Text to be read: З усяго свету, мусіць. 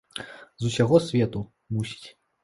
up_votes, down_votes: 2, 0